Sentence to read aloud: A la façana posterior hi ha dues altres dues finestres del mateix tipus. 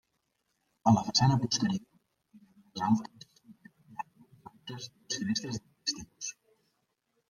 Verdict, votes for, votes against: rejected, 0, 2